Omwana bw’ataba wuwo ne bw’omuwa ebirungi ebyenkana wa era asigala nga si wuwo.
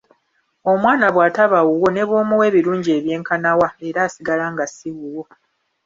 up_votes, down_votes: 2, 1